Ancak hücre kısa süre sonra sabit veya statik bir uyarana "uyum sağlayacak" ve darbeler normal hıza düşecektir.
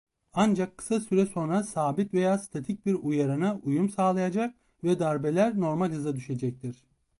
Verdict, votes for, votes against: rejected, 0, 2